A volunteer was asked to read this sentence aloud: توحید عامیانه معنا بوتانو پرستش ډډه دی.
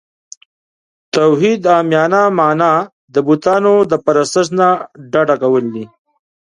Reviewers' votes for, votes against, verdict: 1, 2, rejected